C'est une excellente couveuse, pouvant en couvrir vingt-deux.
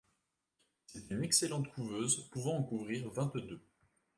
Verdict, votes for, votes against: accepted, 2, 0